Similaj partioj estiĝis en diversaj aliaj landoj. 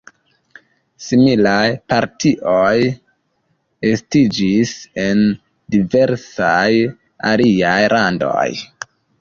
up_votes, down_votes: 2, 0